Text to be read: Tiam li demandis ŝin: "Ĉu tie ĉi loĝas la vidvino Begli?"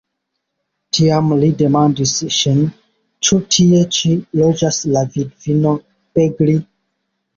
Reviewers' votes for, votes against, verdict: 1, 2, rejected